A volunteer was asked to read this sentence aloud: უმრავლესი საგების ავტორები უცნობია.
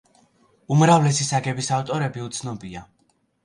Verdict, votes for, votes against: accepted, 2, 0